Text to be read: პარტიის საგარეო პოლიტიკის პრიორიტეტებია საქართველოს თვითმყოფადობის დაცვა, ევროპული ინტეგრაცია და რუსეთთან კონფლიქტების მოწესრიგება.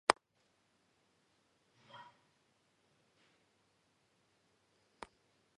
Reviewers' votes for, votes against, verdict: 0, 2, rejected